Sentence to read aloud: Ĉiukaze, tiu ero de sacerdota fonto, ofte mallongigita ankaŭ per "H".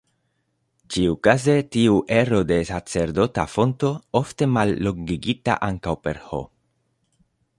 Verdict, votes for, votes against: accepted, 2, 0